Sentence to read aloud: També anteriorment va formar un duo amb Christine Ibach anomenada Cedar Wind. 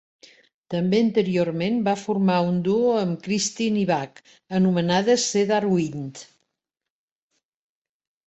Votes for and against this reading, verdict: 2, 0, accepted